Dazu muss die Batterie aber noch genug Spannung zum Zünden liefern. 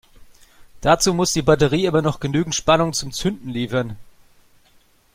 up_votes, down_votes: 0, 2